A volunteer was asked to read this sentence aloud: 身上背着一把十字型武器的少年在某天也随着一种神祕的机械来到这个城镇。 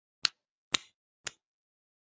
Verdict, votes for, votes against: rejected, 1, 2